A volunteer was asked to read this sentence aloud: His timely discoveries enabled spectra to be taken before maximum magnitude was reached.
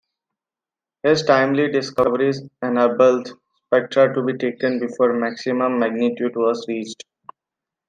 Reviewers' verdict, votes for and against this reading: accepted, 2, 0